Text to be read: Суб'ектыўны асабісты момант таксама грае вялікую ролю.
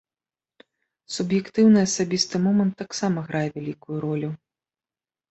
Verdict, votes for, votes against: accepted, 2, 0